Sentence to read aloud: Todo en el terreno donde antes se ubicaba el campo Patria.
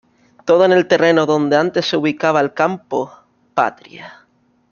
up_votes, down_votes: 2, 0